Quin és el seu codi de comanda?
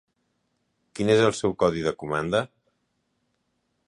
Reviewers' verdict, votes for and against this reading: accepted, 4, 0